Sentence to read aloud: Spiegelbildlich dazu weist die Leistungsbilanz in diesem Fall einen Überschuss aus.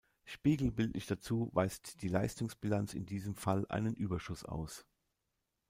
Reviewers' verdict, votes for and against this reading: accepted, 2, 0